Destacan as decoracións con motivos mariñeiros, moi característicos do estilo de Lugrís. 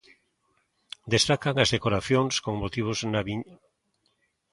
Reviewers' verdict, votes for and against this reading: rejected, 0, 2